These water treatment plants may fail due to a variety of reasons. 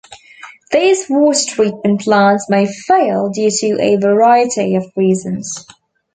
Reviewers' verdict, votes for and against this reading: rejected, 0, 2